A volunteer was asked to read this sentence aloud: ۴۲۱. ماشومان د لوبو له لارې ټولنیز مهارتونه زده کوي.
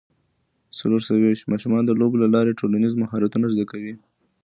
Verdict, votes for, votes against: rejected, 0, 2